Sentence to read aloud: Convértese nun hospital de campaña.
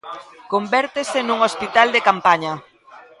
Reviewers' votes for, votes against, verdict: 1, 2, rejected